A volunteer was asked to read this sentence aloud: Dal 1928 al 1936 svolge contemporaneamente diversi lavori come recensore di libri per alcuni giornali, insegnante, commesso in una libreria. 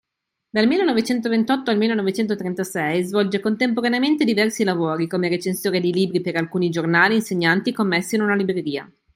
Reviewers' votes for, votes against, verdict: 0, 2, rejected